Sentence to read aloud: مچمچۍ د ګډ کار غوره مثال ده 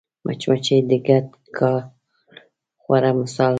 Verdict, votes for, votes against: rejected, 1, 2